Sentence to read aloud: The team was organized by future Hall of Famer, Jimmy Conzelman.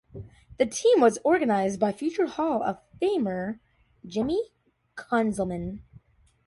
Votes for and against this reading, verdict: 2, 0, accepted